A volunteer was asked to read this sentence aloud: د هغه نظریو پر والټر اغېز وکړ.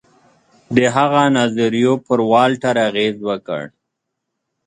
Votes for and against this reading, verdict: 2, 0, accepted